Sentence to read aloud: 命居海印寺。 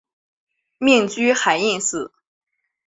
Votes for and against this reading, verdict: 2, 0, accepted